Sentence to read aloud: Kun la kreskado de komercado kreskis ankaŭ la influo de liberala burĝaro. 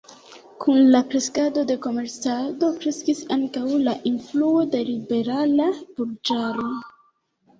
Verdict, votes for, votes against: rejected, 1, 2